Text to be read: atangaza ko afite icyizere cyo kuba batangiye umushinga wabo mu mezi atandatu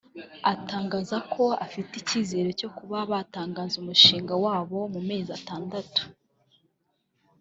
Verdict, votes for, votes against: rejected, 1, 2